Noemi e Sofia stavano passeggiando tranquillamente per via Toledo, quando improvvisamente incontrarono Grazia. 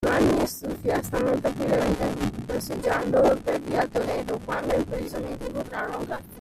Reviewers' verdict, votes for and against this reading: rejected, 0, 2